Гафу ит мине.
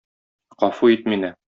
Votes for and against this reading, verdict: 2, 0, accepted